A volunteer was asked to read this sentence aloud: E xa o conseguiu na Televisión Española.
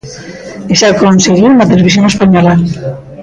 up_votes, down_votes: 0, 2